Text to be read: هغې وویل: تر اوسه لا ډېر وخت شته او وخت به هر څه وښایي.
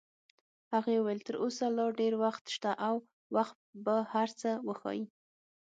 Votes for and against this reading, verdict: 6, 0, accepted